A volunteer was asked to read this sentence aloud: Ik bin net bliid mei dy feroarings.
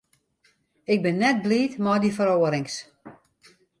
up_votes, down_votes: 2, 0